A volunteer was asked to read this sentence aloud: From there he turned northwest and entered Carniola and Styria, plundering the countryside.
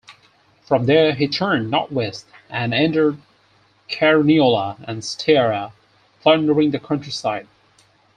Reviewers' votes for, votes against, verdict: 4, 0, accepted